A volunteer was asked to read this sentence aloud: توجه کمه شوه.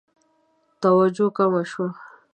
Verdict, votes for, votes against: accepted, 2, 0